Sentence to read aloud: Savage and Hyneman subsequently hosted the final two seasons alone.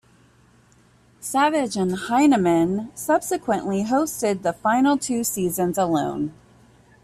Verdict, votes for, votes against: accepted, 2, 0